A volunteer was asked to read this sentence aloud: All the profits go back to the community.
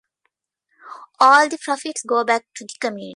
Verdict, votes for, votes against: rejected, 0, 2